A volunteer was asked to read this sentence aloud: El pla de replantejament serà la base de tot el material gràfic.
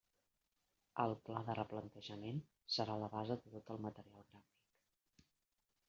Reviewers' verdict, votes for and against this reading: rejected, 0, 2